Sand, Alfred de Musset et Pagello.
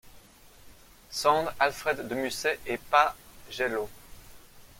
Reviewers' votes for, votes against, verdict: 1, 2, rejected